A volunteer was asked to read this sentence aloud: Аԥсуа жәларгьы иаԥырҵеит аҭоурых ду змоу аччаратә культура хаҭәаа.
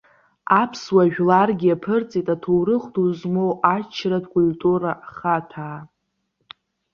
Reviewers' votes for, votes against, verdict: 0, 2, rejected